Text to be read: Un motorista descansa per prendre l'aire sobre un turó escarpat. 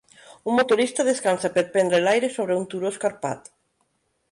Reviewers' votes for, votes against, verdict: 3, 1, accepted